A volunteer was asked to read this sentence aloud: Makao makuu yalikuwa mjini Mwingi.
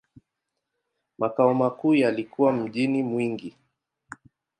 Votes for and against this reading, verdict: 2, 0, accepted